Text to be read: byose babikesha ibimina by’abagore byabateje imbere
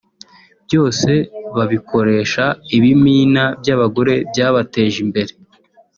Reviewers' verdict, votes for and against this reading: rejected, 0, 2